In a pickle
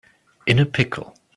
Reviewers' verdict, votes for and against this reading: accepted, 2, 0